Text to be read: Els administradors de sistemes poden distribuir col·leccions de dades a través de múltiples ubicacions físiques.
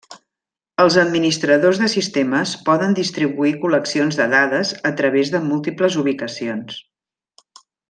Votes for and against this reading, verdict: 0, 2, rejected